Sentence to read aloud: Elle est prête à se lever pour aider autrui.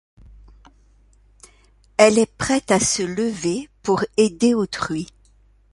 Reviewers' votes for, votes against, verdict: 2, 0, accepted